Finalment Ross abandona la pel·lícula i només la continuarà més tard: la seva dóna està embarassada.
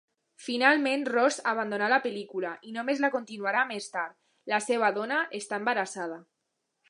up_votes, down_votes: 2, 0